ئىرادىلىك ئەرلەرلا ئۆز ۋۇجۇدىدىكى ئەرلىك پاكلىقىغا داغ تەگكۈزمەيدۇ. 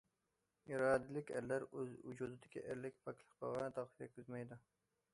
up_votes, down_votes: 0, 2